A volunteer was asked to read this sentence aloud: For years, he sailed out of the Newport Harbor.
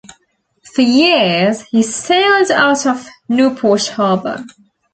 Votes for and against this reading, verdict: 0, 2, rejected